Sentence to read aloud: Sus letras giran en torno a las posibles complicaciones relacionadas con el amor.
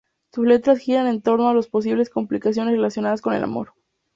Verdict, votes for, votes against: accepted, 4, 0